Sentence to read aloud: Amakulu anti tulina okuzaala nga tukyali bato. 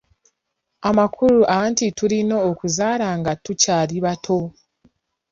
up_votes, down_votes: 2, 0